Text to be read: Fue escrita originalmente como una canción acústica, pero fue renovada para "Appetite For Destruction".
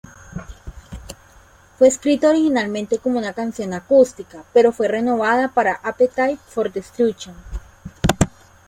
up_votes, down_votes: 1, 2